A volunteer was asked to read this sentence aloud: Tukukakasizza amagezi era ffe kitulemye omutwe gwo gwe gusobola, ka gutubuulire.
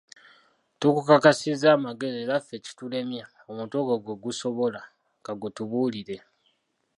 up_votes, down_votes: 3, 1